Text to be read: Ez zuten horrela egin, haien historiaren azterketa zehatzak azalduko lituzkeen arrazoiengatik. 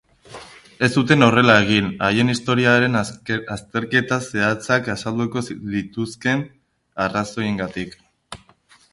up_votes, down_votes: 0, 2